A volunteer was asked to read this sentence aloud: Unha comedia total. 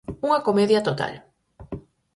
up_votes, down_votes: 4, 0